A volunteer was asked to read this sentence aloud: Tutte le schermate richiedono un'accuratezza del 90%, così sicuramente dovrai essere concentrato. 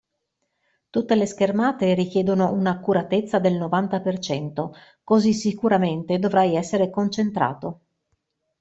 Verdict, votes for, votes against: rejected, 0, 2